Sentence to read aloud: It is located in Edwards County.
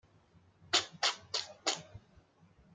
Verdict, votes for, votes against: rejected, 0, 2